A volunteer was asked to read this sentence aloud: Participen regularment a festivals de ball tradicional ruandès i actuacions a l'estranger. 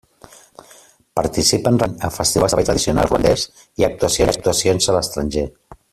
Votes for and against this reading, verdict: 0, 2, rejected